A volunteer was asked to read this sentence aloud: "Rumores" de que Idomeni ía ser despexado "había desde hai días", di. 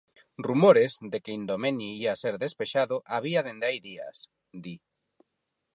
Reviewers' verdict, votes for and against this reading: rejected, 0, 4